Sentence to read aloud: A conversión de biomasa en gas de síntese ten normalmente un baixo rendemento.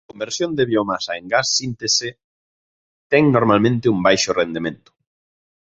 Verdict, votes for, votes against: rejected, 0, 2